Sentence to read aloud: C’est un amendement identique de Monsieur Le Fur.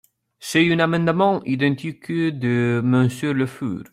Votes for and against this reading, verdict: 0, 2, rejected